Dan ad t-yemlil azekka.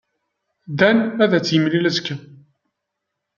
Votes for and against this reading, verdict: 0, 2, rejected